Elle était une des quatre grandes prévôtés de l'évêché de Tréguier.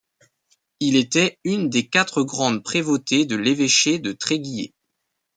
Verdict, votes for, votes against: rejected, 2, 3